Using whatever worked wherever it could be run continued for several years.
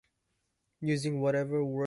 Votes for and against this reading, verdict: 0, 2, rejected